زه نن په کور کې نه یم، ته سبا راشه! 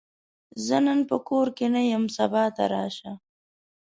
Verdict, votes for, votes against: rejected, 1, 2